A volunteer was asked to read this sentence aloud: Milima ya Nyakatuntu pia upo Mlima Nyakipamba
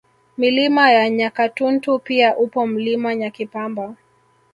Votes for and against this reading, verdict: 0, 2, rejected